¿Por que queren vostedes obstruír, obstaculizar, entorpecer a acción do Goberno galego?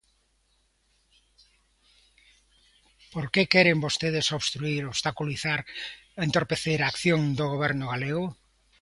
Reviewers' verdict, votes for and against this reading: accepted, 2, 0